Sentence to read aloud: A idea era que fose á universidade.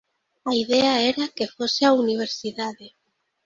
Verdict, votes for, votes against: accepted, 2, 0